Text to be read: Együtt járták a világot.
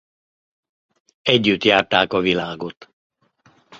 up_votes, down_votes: 2, 0